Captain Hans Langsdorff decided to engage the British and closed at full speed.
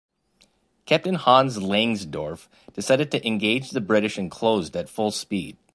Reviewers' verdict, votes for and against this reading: accepted, 2, 0